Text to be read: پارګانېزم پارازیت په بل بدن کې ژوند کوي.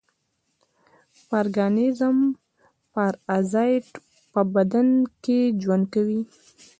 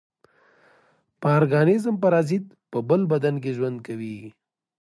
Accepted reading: second